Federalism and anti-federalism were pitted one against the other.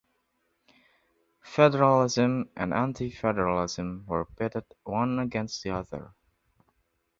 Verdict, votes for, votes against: accepted, 2, 0